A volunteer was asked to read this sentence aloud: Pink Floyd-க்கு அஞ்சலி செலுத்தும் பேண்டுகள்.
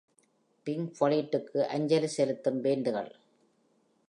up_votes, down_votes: 2, 0